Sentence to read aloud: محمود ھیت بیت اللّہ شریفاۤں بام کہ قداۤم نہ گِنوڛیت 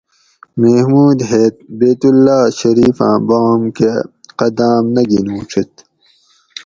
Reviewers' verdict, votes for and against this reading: accepted, 2, 0